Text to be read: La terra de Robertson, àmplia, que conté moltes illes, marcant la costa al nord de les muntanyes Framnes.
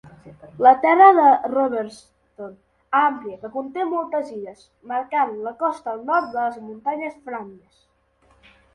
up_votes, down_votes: 0, 2